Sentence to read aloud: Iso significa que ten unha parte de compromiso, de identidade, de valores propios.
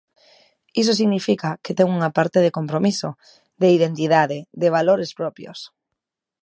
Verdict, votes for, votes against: accepted, 2, 0